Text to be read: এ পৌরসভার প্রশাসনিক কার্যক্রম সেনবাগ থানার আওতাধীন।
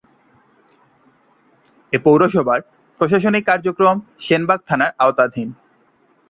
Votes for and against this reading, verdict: 2, 0, accepted